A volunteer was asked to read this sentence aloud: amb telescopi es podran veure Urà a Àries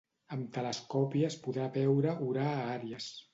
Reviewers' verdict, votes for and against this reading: rejected, 0, 2